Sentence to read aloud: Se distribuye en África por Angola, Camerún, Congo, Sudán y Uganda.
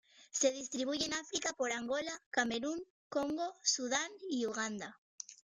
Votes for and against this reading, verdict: 0, 2, rejected